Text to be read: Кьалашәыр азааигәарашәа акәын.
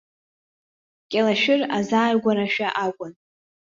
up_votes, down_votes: 2, 0